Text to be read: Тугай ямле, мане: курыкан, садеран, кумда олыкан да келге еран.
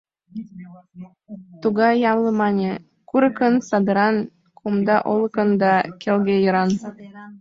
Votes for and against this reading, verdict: 2, 1, accepted